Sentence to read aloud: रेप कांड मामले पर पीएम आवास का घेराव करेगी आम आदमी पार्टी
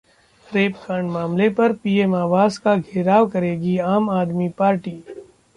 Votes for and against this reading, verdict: 1, 2, rejected